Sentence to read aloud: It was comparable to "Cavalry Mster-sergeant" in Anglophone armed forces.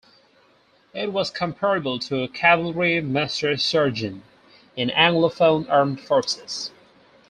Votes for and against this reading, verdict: 2, 2, rejected